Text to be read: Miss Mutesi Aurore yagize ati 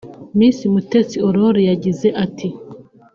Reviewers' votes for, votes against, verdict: 2, 0, accepted